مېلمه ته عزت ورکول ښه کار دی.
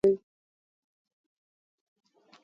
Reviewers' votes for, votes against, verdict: 0, 2, rejected